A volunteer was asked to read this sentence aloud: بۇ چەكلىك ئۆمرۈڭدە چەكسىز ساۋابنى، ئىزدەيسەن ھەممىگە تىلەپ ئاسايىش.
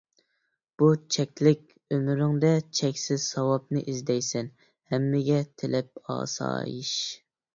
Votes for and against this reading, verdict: 2, 0, accepted